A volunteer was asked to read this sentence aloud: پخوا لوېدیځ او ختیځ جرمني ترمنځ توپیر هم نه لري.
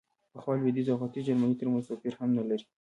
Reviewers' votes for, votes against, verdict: 0, 2, rejected